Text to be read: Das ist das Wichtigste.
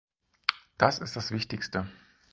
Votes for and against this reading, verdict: 4, 0, accepted